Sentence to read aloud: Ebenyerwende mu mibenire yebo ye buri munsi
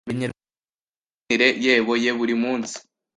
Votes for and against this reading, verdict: 1, 2, rejected